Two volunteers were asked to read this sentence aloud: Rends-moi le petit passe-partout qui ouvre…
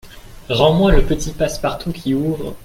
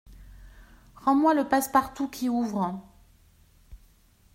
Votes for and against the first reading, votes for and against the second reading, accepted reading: 2, 0, 1, 2, first